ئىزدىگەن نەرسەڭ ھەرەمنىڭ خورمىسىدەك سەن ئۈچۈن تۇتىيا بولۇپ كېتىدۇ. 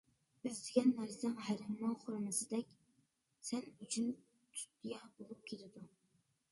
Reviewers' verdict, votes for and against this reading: rejected, 1, 2